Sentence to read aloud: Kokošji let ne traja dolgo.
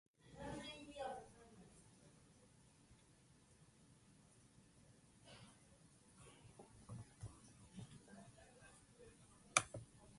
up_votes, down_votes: 0, 2